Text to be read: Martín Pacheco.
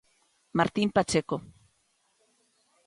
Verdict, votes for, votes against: accepted, 2, 0